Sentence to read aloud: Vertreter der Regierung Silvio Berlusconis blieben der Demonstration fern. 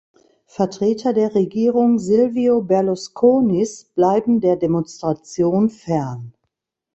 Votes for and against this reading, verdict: 0, 2, rejected